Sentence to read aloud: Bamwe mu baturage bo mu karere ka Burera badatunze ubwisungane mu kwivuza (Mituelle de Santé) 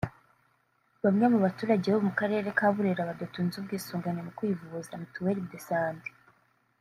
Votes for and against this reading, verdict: 2, 0, accepted